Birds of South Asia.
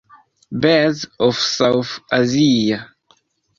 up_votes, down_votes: 0, 2